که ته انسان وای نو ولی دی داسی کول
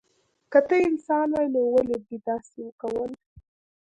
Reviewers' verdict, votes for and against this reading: accepted, 3, 0